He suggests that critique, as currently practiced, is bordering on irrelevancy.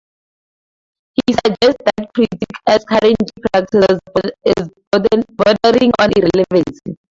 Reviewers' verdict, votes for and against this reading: rejected, 0, 4